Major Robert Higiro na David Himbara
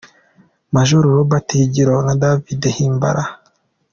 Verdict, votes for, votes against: accepted, 2, 1